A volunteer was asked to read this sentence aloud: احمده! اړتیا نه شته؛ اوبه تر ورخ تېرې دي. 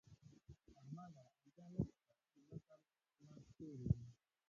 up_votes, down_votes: 1, 2